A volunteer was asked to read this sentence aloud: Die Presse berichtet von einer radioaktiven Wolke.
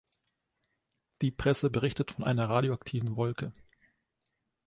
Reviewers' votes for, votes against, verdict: 2, 0, accepted